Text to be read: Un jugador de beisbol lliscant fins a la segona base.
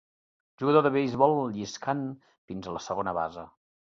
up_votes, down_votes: 0, 2